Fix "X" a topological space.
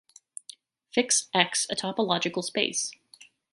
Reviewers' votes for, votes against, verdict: 2, 0, accepted